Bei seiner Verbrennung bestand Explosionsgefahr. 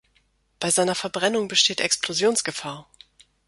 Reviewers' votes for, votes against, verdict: 1, 2, rejected